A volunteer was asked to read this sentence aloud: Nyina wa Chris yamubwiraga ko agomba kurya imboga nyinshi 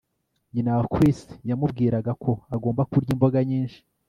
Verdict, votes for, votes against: accepted, 2, 0